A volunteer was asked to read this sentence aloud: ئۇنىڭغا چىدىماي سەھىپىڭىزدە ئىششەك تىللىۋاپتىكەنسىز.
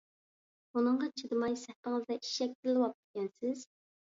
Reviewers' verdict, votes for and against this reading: rejected, 0, 2